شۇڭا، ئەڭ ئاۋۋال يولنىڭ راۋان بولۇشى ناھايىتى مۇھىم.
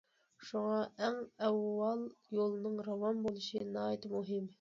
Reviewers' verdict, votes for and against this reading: accepted, 2, 0